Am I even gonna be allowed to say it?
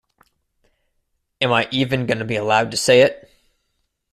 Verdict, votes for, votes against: accepted, 2, 0